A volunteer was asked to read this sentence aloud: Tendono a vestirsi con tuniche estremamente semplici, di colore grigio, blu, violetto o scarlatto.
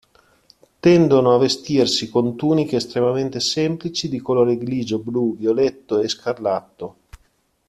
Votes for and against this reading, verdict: 1, 2, rejected